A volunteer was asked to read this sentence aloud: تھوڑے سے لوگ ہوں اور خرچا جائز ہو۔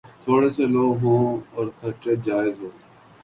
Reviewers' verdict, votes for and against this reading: accepted, 4, 0